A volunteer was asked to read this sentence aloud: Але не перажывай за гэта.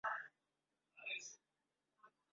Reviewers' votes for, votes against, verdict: 0, 2, rejected